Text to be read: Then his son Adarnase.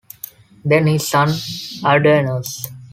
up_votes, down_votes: 0, 2